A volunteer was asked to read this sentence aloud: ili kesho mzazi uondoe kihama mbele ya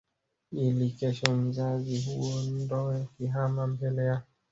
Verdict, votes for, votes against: rejected, 1, 2